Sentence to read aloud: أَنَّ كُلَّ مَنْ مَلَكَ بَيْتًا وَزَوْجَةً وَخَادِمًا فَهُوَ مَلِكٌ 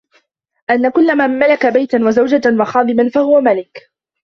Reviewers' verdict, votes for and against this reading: accepted, 2, 0